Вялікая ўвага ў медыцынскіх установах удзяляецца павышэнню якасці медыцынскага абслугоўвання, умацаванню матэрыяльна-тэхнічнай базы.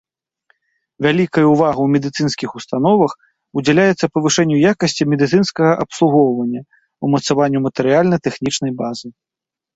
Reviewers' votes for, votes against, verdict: 2, 0, accepted